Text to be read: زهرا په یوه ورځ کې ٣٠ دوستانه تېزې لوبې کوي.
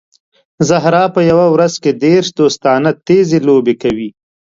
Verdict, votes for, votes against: rejected, 0, 2